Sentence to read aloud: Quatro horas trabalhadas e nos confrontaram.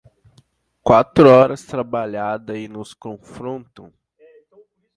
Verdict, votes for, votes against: rejected, 0, 2